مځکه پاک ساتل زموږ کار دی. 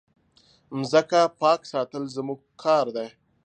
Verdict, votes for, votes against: accepted, 2, 0